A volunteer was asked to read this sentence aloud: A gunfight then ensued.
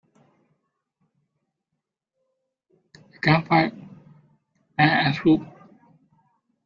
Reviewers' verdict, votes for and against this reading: rejected, 0, 2